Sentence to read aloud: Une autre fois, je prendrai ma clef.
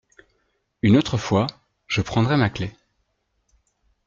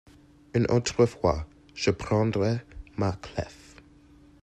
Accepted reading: first